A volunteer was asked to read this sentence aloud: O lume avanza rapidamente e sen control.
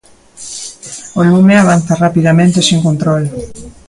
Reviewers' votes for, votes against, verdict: 2, 1, accepted